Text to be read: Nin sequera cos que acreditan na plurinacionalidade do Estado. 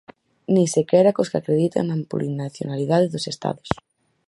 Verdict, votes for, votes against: rejected, 0, 4